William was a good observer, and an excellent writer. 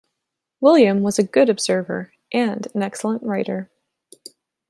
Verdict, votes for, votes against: accepted, 2, 0